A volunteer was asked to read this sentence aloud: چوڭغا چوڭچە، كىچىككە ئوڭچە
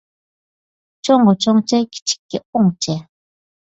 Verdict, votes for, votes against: accepted, 2, 0